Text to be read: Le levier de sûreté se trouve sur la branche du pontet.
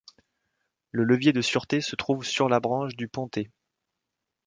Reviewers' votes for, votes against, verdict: 2, 0, accepted